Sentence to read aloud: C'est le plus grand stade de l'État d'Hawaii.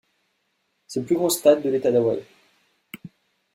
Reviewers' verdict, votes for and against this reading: rejected, 1, 2